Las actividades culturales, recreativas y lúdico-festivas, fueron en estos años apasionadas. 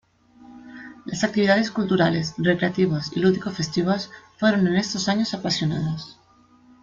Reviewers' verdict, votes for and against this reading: accepted, 2, 0